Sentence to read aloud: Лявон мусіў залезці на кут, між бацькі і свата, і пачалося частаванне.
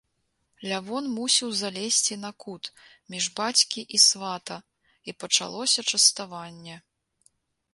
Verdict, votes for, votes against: accepted, 2, 0